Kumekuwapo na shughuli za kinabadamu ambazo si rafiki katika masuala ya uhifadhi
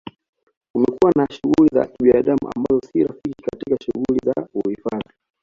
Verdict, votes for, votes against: rejected, 1, 2